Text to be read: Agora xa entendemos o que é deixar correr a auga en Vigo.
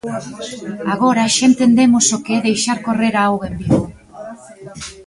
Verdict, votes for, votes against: accepted, 2, 1